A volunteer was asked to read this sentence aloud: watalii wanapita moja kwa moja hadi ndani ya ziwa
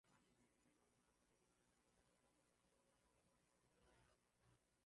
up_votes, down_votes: 1, 6